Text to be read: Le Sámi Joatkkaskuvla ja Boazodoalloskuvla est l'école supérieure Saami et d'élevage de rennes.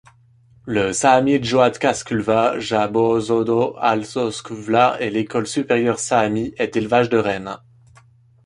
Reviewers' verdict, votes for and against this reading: rejected, 1, 3